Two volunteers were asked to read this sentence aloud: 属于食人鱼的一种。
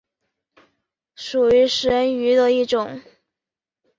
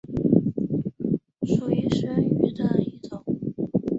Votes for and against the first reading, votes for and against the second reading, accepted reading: 2, 0, 1, 3, first